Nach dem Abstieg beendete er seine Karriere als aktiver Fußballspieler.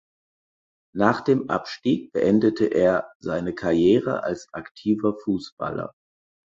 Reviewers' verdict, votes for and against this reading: rejected, 0, 4